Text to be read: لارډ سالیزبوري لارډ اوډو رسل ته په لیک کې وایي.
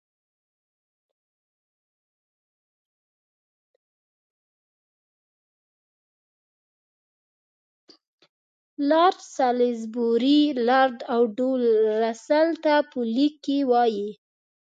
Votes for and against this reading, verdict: 0, 2, rejected